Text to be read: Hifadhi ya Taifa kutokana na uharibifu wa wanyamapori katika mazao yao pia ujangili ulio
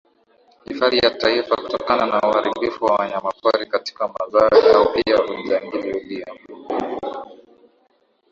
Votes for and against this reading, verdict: 2, 0, accepted